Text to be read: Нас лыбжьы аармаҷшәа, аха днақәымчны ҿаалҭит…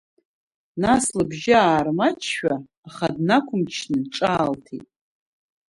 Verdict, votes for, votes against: accepted, 2, 0